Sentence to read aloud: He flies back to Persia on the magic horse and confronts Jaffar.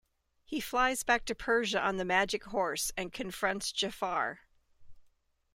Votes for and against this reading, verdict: 2, 0, accepted